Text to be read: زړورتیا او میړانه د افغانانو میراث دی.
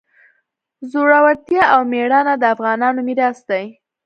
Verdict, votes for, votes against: accepted, 2, 0